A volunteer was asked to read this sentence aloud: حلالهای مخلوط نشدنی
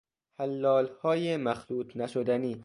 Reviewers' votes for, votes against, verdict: 2, 0, accepted